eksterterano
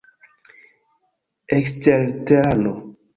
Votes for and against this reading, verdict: 1, 2, rejected